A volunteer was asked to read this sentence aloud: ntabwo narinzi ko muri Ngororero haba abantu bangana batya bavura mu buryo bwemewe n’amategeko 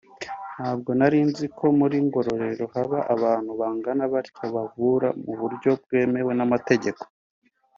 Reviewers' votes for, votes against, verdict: 2, 0, accepted